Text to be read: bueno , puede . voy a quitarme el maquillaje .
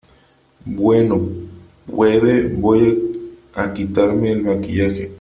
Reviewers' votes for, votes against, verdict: 3, 1, accepted